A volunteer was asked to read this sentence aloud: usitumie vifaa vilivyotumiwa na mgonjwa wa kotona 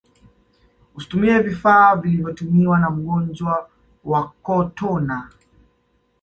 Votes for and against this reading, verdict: 2, 0, accepted